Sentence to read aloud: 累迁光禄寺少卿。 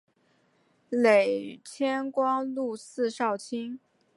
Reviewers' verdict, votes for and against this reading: accepted, 8, 0